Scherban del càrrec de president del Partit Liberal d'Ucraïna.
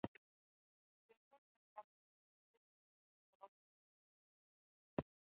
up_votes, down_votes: 0, 3